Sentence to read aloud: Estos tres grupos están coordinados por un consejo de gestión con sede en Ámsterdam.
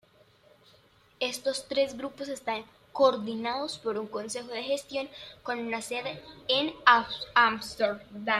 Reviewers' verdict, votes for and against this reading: rejected, 0, 2